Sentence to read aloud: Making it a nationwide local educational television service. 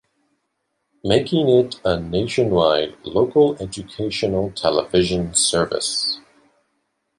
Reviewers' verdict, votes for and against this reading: accepted, 3, 0